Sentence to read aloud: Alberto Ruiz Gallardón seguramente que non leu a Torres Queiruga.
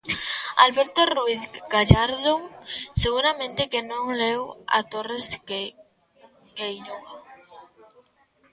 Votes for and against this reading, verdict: 0, 2, rejected